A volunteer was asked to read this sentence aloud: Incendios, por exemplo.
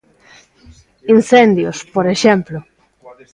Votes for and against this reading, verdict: 2, 0, accepted